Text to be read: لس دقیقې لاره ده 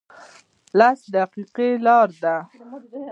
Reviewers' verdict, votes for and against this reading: rejected, 1, 2